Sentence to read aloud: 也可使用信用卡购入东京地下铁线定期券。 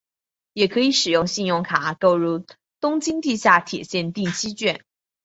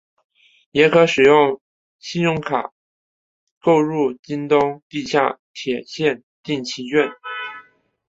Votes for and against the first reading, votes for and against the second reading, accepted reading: 2, 0, 0, 3, first